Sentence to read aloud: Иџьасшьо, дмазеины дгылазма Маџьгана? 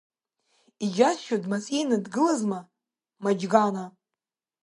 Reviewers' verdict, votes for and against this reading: accepted, 2, 1